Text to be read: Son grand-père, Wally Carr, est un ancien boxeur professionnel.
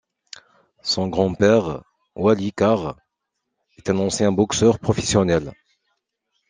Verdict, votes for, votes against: accepted, 2, 0